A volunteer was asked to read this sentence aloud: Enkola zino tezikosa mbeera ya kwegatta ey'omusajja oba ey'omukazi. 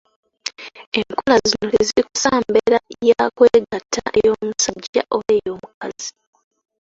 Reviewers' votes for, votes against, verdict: 0, 2, rejected